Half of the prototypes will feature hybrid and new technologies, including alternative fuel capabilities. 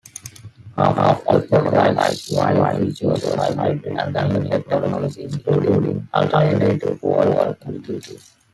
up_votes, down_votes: 0, 2